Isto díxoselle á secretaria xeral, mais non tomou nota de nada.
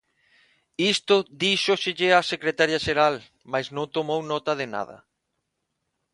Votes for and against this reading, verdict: 6, 0, accepted